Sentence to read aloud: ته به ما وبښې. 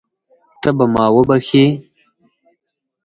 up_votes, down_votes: 4, 0